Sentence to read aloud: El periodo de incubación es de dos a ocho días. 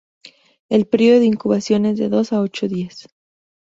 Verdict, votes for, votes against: accepted, 2, 0